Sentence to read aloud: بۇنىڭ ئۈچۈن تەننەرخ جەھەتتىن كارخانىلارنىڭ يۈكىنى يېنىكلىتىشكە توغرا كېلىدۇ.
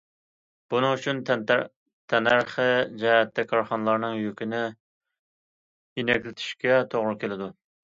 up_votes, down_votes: 0, 2